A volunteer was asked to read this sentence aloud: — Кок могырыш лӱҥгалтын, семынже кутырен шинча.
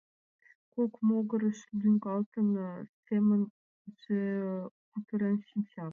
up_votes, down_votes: 2, 0